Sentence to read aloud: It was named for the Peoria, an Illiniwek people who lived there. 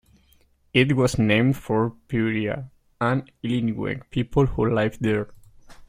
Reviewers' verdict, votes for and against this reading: rejected, 1, 2